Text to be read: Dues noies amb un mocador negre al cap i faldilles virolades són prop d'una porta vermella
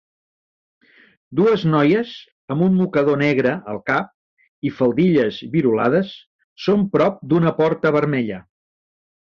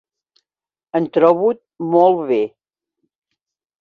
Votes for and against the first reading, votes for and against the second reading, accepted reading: 3, 0, 0, 2, first